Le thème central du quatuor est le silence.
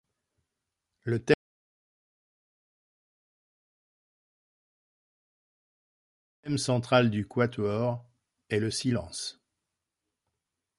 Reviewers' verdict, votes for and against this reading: rejected, 0, 2